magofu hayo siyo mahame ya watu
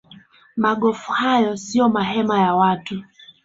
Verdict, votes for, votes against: rejected, 0, 2